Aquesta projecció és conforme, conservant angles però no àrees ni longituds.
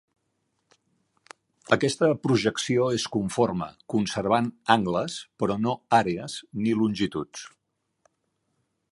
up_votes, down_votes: 2, 0